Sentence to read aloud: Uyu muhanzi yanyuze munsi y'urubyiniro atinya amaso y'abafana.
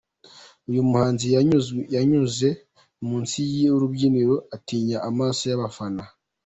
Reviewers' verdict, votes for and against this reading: accepted, 2, 0